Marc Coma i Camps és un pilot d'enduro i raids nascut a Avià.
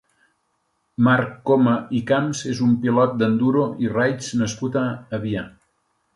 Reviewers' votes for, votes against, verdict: 2, 0, accepted